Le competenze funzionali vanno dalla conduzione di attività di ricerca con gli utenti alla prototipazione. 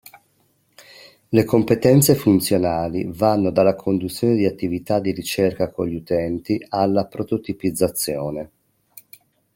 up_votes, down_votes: 1, 2